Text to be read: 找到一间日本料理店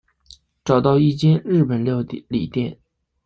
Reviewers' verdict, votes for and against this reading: rejected, 0, 2